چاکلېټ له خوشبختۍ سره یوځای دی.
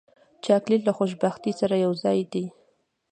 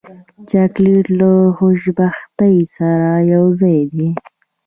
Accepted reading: first